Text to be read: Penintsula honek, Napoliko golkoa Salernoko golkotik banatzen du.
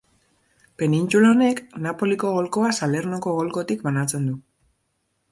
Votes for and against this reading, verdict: 3, 0, accepted